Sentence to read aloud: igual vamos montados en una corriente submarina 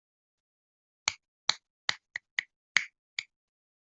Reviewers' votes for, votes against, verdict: 0, 2, rejected